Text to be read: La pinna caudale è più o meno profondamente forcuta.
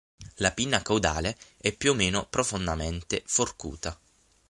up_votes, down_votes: 6, 3